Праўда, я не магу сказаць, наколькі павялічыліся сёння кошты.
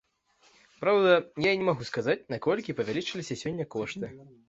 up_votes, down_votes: 2, 0